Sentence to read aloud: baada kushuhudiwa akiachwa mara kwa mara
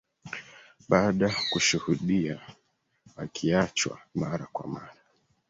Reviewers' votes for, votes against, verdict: 0, 2, rejected